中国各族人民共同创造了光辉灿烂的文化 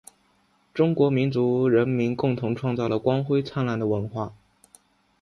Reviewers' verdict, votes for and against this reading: rejected, 0, 2